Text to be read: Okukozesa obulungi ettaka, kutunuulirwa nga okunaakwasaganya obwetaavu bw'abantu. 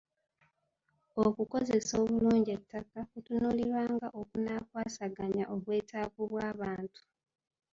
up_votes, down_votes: 2, 1